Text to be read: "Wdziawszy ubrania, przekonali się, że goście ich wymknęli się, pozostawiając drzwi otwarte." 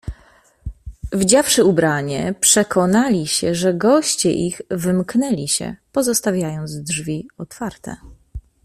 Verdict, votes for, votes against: rejected, 0, 2